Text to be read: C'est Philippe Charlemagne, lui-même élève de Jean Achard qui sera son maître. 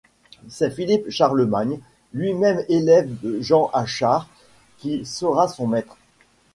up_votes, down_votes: 2, 0